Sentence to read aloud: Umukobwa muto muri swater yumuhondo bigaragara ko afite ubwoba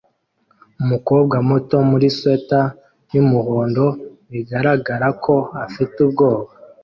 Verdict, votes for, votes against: accepted, 2, 0